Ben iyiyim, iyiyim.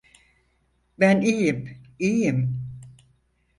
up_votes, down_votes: 4, 2